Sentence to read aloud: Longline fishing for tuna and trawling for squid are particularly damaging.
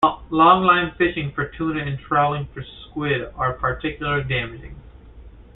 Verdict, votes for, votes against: accepted, 2, 0